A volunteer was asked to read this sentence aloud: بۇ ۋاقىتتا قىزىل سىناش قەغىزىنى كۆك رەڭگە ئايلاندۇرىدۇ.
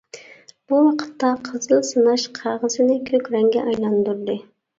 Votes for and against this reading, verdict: 0, 2, rejected